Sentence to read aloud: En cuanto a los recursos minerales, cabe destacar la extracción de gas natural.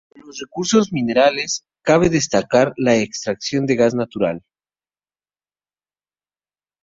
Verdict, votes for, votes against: rejected, 2, 6